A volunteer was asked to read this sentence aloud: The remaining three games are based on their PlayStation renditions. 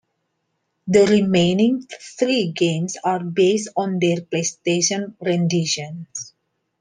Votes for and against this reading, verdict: 2, 1, accepted